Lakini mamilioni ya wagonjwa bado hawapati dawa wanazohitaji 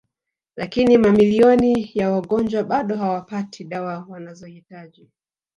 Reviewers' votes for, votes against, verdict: 3, 0, accepted